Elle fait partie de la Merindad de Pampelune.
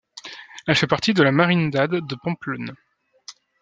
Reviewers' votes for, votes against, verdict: 1, 2, rejected